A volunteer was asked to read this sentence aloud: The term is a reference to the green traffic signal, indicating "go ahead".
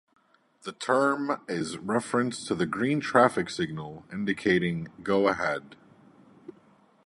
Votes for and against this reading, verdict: 2, 0, accepted